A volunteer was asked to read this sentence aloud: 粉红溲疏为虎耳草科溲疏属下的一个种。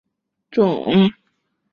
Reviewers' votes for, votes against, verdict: 0, 2, rejected